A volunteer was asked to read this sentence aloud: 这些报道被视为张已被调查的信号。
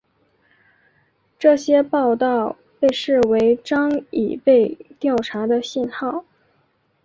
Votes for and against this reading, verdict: 4, 1, accepted